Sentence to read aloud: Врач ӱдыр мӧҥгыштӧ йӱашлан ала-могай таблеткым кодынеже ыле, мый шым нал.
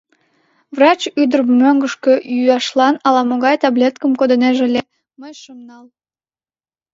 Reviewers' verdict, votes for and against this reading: rejected, 1, 2